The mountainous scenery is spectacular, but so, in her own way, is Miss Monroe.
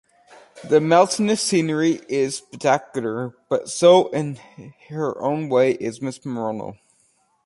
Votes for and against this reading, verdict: 0, 2, rejected